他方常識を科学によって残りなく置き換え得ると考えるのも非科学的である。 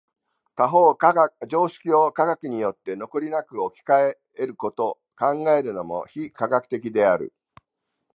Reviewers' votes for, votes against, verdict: 2, 3, rejected